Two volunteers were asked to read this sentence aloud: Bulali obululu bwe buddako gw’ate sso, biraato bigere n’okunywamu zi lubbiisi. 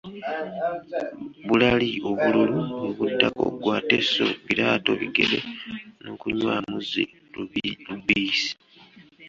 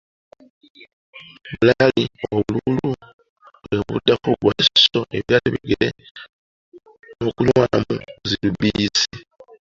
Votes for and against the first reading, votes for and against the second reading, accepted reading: 2, 1, 1, 2, first